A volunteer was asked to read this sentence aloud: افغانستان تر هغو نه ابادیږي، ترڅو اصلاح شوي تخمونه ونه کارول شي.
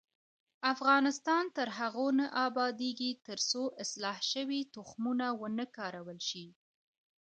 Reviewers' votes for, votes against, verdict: 1, 2, rejected